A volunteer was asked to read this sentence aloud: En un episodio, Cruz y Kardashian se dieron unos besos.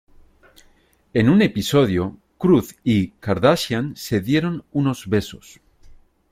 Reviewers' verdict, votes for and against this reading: accepted, 2, 0